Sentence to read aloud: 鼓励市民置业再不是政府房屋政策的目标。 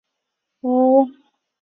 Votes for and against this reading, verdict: 0, 3, rejected